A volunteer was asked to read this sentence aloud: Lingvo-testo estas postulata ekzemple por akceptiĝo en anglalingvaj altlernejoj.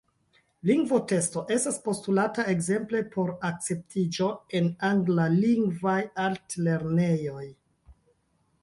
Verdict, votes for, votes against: accepted, 2, 0